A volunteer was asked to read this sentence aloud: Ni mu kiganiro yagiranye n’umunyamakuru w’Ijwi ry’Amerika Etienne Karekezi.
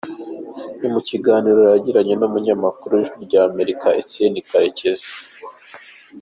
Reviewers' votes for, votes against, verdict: 3, 0, accepted